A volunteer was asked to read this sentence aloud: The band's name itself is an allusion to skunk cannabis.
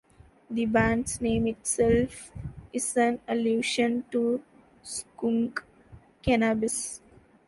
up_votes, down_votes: 1, 2